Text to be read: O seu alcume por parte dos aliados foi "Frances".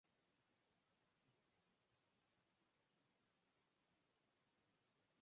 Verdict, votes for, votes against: rejected, 0, 6